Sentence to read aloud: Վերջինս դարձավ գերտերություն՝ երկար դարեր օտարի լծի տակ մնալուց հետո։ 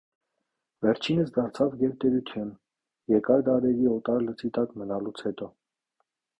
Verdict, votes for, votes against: rejected, 0, 2